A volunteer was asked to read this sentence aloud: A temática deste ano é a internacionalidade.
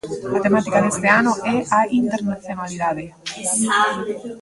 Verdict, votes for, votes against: rejected, 1, 2